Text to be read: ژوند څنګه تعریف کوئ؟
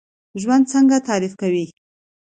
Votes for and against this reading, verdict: 2, 0, accepted